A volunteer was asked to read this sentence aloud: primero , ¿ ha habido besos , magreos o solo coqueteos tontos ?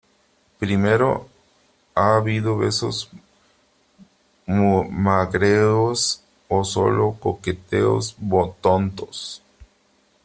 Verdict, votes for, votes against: rejected, 0, 3